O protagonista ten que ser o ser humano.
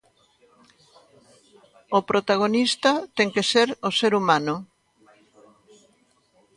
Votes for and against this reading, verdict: 0, 2, rejected